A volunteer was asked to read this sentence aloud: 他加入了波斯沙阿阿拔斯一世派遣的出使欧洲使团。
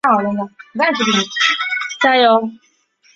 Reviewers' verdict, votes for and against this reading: rejected, 0, 3